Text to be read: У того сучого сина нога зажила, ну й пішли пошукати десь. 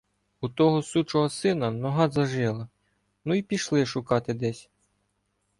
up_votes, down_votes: 1, 2